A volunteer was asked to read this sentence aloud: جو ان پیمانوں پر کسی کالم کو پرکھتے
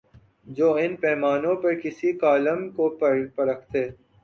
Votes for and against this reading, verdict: 2, 2, rejected